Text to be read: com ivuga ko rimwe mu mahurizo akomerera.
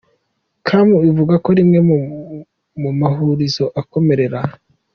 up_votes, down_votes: 3, 0